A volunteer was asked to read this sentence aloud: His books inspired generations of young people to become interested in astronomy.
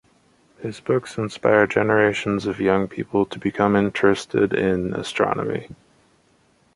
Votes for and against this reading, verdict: 2, 0, accepted